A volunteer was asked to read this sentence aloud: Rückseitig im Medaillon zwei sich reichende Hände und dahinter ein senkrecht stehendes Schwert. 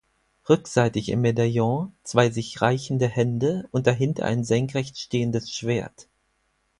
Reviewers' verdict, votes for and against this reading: accepted, 4, 0